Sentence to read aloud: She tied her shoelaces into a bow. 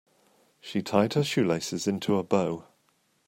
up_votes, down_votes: 2, 0